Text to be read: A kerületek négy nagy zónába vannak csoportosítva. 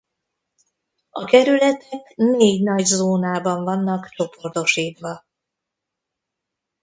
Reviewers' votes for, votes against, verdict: 0, 2, rejected